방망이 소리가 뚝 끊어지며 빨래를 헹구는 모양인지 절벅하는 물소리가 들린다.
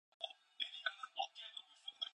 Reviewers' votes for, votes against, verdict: 0, 2, rejected